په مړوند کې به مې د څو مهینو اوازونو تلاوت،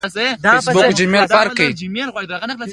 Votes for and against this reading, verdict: 1, 2, rejected